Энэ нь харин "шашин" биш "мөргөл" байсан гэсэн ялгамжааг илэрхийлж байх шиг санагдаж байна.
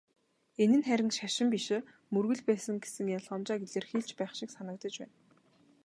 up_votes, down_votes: 3, 0